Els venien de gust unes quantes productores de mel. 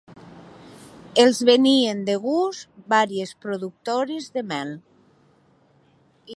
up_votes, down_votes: 0, 2